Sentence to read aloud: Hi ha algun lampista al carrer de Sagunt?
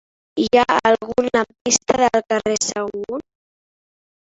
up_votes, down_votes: 1, 3